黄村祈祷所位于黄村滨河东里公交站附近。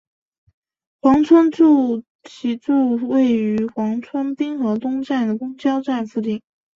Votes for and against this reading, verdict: 0, 2, rejected